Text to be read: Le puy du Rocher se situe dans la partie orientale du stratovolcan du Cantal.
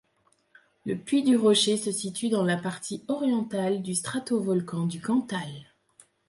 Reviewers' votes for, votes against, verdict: 2, 0, accepted